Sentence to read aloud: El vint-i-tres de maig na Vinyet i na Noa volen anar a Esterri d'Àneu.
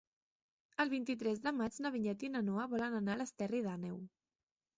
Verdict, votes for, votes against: rejected, 0, 3